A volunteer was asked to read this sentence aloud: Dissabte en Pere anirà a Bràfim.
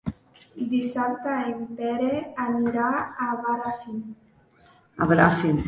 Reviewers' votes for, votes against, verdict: 0, 2, rejected